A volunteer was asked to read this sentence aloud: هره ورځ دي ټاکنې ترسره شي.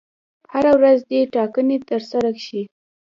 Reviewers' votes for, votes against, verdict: 2, 0, accepted